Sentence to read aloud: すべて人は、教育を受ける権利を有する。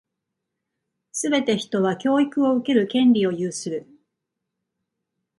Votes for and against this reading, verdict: 2, 0, accepted